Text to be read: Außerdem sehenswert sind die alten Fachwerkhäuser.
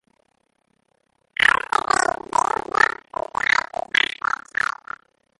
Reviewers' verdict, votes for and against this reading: rejected, 0, 2